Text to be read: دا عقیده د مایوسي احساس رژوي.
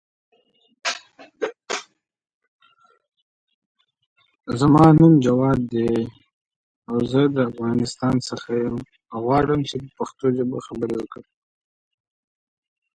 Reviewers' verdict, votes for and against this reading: rejected, 0, 2